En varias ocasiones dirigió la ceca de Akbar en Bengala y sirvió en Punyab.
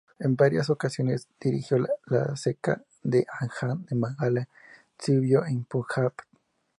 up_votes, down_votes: 2, 0